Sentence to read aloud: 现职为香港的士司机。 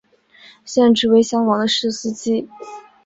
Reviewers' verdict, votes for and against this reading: rejected, 1, 2